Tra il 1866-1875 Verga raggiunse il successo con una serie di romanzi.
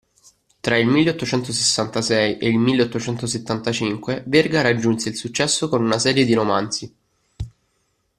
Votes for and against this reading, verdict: 0, 2, rejected